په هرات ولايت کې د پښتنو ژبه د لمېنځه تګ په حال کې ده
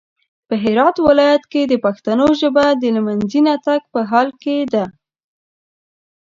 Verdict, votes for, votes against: accepted, 2, 0